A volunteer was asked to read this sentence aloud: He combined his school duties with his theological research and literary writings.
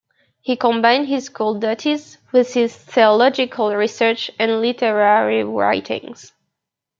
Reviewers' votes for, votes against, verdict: 1, 2, rejected